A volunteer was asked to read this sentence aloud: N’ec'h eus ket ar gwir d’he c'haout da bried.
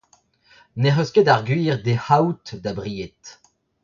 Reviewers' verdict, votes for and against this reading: accepted, 2, 1